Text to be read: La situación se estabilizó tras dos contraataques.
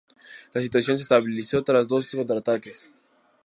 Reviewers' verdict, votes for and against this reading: accepted, 4, 0